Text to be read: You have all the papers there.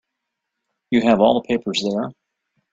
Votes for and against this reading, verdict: 3, 0, accepted